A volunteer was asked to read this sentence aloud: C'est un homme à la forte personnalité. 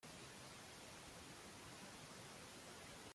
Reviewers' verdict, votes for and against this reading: rejected, 1, 2